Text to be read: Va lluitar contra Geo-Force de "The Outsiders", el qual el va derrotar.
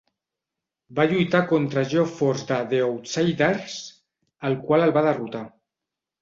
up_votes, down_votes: 1, 2